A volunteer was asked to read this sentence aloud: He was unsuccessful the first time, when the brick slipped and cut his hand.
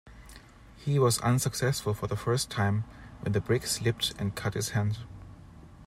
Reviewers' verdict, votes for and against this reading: rejected, 0, 2